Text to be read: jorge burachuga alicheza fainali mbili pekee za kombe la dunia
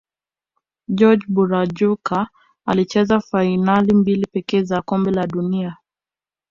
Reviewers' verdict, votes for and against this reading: accepted, 2, 1